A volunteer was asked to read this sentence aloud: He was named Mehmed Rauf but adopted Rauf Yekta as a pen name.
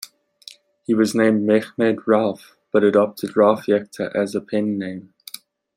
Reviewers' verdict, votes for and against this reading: accepted, 2, 0